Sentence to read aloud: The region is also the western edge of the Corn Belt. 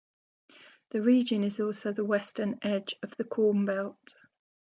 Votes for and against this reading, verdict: 2, 0, accepted